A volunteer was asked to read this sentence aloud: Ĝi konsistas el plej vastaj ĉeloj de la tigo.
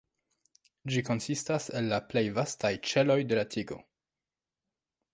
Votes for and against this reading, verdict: 2, 0, accepted